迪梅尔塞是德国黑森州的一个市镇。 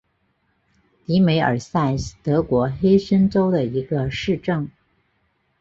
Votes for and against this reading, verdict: 3, 0, accepted